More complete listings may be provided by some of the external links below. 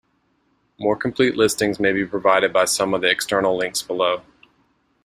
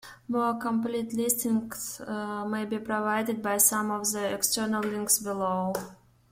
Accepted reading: first